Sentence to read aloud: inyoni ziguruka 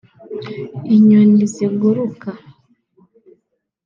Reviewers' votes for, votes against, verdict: 2, 0, accepted